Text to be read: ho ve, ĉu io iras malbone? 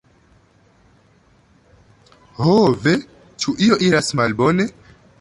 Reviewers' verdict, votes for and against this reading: accepted, 2, 1